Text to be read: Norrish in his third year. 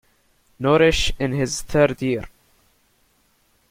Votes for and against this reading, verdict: 2, 0, accepted